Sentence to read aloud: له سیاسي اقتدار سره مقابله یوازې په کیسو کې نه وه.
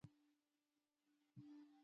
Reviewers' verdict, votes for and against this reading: rejected, 0, 2